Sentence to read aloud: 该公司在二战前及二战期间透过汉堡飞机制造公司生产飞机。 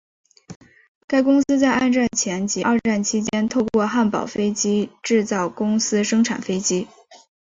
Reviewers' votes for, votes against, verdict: 2, 0, accepted